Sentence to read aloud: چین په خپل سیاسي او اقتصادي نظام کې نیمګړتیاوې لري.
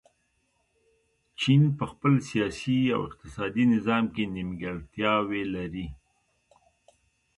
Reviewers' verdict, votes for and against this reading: rejected, 1, 2